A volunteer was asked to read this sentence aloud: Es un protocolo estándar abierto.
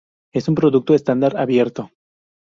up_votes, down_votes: 0, 2